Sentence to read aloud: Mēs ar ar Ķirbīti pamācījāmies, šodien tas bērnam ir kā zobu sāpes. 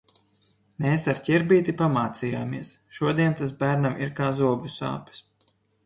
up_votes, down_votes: 2, 0